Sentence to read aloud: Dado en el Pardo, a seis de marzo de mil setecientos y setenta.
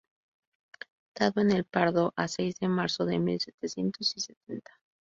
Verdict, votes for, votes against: rejected, 0, 2